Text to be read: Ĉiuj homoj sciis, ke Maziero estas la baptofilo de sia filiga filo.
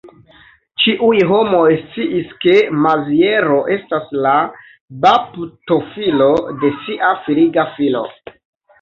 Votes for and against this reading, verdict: 3, 1, accepted